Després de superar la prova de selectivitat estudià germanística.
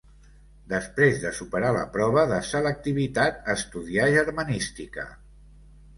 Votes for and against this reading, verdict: 2, 0, accepted